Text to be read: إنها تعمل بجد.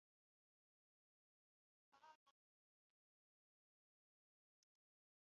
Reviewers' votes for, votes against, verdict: 0, 2, rejected